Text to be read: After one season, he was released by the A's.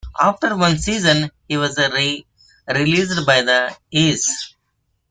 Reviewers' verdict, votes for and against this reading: accepted, 2, 0